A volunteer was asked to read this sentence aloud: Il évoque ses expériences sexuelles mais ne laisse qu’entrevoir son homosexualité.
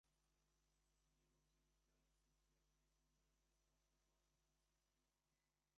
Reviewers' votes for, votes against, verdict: 0, 2, rejected